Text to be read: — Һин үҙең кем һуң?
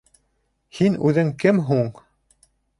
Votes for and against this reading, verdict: 2, 0, accepted